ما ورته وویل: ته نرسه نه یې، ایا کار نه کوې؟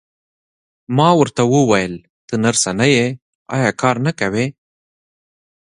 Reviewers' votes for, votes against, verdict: 2, 0, accepted